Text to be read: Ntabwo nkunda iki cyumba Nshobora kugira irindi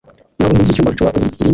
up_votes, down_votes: 1, 2